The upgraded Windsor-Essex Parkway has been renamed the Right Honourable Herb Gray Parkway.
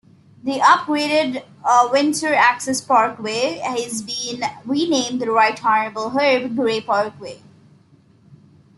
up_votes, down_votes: 0, 2